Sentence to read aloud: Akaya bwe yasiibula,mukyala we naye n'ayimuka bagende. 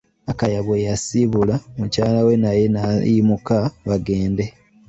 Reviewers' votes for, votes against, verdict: 2, 0, accepted